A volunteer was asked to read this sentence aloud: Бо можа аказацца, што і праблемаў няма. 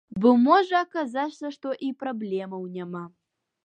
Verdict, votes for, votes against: accepted, 2, 0